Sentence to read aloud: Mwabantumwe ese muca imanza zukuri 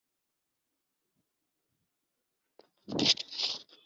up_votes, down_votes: 1, 3